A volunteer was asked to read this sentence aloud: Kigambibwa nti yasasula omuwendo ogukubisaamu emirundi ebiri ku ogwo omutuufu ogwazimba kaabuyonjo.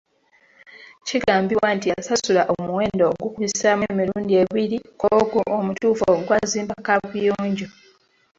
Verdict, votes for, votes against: rejected, 1, 2